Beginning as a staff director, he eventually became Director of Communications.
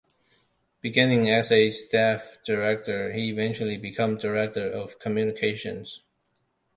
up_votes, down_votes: 2, 0